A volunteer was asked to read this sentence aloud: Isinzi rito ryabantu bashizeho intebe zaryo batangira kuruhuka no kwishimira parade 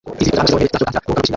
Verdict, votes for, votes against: rejected, 0, 2